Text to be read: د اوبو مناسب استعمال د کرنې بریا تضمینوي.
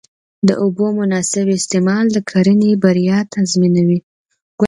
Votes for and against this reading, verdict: 2, 0, accepted